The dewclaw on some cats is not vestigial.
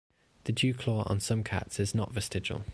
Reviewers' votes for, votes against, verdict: 2, 0, accepted